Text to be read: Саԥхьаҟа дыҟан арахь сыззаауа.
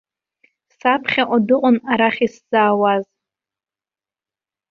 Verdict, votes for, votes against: rejected, 0, 2